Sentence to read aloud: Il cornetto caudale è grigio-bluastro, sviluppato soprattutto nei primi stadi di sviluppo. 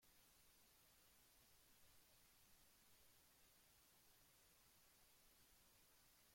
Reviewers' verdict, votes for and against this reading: rejected, 0, 2